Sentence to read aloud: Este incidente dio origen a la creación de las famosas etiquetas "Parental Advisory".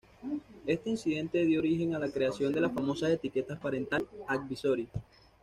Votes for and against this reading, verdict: 2, 0, accepted